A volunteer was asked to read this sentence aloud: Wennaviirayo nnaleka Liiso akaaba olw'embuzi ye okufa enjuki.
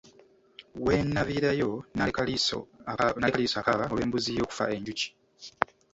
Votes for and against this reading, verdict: 1, 2, rejected